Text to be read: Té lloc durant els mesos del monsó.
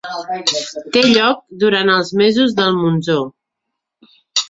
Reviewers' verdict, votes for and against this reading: rejected, 0, 2